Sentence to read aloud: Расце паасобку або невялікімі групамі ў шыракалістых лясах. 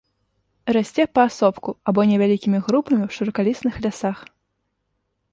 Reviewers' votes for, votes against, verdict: 1, 2, rejected